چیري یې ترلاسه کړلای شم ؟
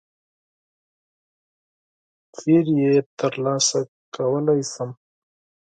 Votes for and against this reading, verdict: 2, 6, rejected